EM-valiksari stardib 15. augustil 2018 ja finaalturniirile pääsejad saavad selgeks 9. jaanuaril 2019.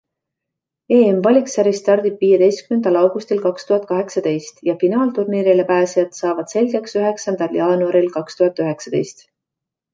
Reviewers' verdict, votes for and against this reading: rejected, 0, 2